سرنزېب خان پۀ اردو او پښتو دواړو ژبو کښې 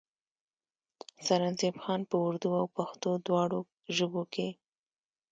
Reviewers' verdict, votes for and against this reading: accepted, 2, 0